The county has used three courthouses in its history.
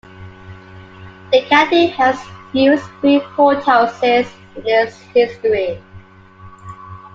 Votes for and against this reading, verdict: 2, 1, accepted